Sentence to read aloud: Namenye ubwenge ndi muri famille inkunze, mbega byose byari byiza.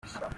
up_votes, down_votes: 0, 2